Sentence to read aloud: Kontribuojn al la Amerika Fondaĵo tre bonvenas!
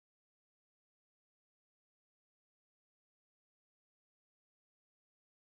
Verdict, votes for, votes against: rejected, 1, 2